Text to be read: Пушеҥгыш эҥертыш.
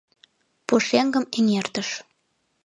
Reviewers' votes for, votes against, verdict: 0, 2, rejected